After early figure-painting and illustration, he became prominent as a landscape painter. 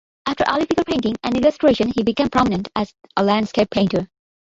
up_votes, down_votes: 1, 2